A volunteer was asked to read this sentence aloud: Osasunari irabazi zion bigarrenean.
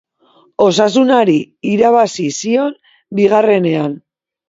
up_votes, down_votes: 2, 0